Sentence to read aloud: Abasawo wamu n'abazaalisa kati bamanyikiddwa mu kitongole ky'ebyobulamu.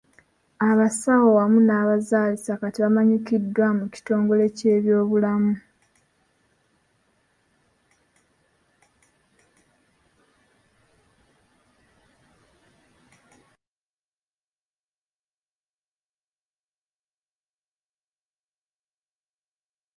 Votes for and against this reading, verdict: 0, 2, rejected